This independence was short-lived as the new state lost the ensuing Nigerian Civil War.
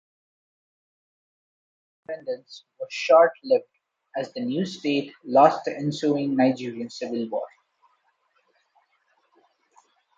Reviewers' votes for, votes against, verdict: 1, 2, rejected